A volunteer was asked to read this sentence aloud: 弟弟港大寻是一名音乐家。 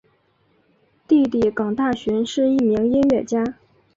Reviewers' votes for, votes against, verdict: 0, 2, rejected